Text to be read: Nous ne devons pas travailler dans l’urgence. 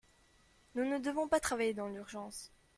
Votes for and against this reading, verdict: 2, 0, accepted